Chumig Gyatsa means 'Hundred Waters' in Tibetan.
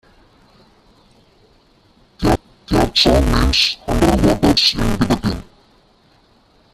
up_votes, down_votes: 0, 2